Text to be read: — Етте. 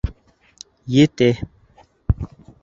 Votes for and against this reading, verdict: 0, 3, rejected